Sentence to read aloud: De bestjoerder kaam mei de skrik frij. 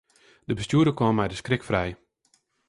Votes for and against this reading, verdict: 2, 0, accepted